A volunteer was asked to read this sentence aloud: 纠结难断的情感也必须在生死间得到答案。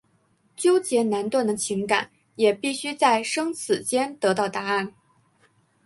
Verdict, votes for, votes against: accepted, 3, 1